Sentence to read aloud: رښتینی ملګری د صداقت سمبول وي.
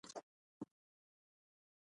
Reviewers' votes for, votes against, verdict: 1, 2, rejected